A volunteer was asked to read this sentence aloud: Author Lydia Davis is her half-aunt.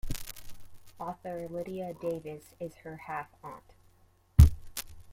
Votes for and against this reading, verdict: 1, 2, rejected